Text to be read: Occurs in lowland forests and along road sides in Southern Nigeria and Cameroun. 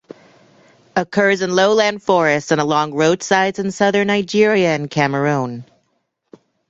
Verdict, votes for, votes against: accepted, 2, 0